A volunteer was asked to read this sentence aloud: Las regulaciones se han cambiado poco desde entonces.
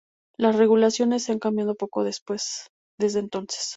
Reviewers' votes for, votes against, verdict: 0, 2, rejected